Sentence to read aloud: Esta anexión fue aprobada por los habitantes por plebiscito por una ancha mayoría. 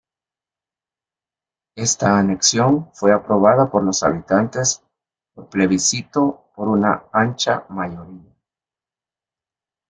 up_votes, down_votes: 2, 1